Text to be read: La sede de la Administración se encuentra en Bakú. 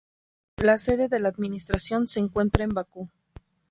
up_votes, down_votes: 2, 0